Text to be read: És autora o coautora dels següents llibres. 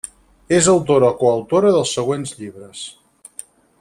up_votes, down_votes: 2, 4